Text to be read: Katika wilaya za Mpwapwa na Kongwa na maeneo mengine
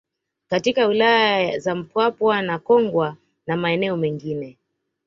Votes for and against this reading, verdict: 2, 0, accepted